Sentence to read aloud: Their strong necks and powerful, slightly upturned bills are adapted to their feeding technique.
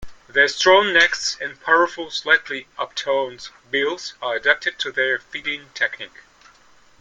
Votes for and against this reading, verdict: 2, 0, accepted